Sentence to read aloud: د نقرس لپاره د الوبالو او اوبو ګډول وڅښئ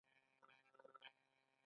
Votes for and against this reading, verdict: 1, 2, rejected